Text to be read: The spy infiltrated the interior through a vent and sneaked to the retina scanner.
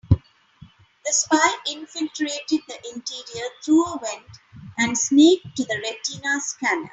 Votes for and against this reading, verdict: 3, 0, accepted